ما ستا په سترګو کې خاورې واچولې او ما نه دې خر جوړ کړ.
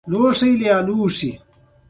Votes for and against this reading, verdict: 2, 0, accepted